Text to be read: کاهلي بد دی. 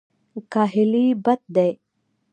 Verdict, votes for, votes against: accepted, 2, 0